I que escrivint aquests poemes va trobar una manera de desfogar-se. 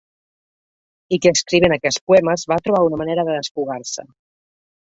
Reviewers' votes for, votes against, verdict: 1, 2, rejected